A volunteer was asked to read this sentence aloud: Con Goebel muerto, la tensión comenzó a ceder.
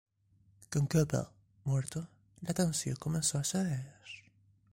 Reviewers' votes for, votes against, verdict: 2, 3, rejected